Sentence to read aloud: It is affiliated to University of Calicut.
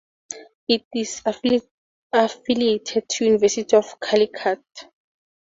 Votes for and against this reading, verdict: 0, 4, rejected